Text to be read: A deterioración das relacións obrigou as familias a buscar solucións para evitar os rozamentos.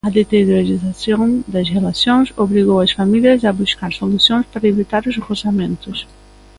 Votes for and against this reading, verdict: 0, 2, rejected